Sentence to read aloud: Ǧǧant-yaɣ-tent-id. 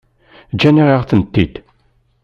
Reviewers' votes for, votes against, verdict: 1, 2, rejected